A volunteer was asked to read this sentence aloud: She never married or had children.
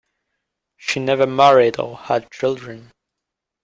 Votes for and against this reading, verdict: 2, 1, accepted